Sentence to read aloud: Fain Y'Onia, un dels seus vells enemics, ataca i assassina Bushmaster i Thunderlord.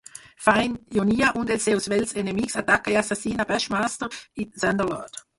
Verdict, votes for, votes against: rejected, 2, 4